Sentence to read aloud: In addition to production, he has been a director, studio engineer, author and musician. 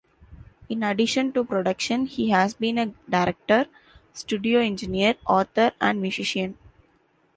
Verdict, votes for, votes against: accepted, 2, 1